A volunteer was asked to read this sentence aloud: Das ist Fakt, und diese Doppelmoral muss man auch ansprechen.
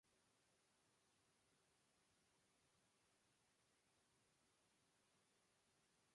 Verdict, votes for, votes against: rejected, 0, 2